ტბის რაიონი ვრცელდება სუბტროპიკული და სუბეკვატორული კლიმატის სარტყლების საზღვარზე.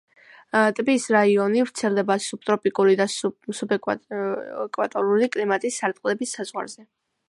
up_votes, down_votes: 2, 0